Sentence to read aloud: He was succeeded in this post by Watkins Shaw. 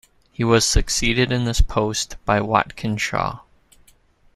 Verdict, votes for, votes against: accepted, 2, 0